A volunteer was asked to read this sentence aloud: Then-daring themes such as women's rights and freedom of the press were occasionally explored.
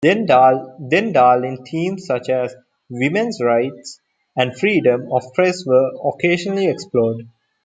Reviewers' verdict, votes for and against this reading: rejected, 0, 2